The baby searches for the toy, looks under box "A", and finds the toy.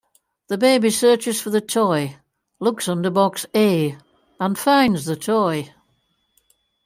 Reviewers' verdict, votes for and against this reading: accepted, 2, 0